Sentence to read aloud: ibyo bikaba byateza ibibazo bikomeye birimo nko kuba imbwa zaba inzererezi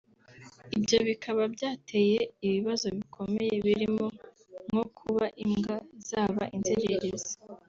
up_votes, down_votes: 1, 2